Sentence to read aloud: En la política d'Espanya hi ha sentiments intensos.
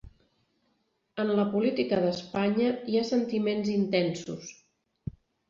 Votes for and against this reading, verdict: 0, 2, rejected